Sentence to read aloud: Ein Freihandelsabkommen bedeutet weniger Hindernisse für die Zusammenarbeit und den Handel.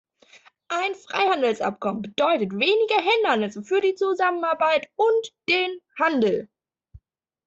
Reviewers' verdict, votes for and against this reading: accepted, 2, 0